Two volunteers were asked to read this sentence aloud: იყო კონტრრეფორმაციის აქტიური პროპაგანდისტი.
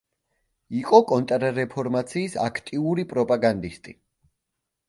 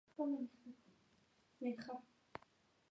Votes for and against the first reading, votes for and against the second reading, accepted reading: 2, 0, 0, 2, first